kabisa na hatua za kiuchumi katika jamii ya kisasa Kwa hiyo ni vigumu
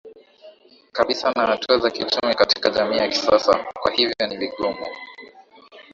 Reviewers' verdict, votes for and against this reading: accepted, 3, 0